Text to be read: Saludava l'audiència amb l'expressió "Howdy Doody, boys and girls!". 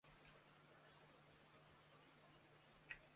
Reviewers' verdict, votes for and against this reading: rejected, 0, 2